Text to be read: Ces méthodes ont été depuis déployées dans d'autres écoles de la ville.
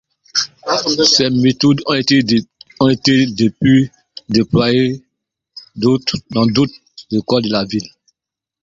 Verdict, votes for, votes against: rejected, 0, 2